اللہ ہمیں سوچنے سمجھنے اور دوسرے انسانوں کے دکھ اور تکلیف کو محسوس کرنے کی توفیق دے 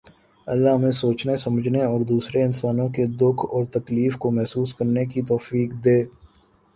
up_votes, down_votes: 2, 1